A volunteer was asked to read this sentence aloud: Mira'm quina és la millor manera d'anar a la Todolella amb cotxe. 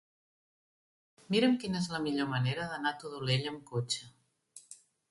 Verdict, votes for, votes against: rejected, 0, 2